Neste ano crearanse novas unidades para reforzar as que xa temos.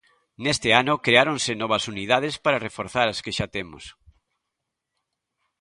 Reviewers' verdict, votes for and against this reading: rejected, 0, 2